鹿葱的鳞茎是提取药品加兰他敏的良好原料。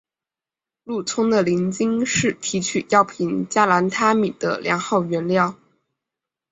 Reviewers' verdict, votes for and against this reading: accepted, 3, 0